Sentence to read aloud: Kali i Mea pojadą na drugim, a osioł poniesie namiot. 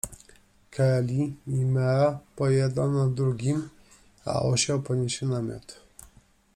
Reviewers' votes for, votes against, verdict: 0, 2, rejected